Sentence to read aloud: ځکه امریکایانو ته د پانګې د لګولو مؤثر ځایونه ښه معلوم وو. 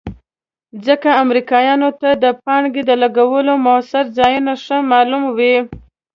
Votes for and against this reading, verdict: 0, 2, rejected